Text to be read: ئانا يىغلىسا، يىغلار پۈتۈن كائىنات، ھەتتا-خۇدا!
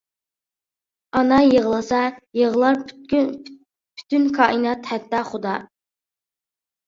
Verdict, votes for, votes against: rejected, 0, 2